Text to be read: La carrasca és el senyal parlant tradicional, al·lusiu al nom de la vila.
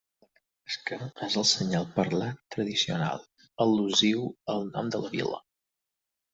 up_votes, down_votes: 0, 4